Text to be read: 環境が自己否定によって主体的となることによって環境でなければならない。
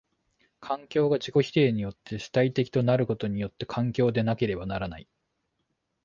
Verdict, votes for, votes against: accepted, 2, 0